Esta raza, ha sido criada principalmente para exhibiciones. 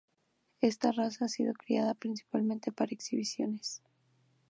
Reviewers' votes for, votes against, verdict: 0, 2, rejected